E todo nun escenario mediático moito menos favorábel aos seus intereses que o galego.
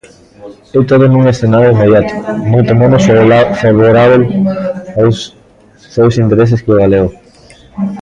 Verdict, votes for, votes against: rejected, 0, 2